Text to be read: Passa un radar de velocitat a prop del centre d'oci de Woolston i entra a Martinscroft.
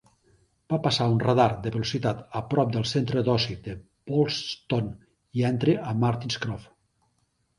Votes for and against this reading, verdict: 1, 2, rejected